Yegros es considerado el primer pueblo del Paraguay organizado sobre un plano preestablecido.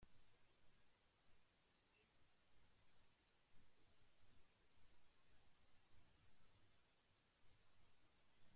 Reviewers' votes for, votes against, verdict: 0, 2, rejected